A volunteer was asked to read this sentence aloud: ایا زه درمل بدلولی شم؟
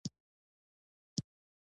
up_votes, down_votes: 2, 0